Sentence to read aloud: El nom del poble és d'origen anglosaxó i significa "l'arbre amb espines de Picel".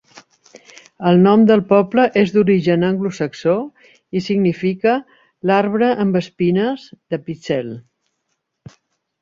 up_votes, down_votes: 2, 0